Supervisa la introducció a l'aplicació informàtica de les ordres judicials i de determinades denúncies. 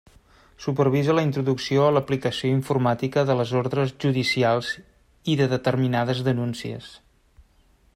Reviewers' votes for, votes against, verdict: 3, 0, accepted